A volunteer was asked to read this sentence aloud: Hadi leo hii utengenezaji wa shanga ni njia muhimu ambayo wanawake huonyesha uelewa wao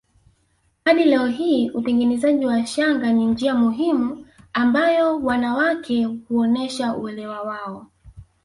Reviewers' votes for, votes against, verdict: 2, 0, accepted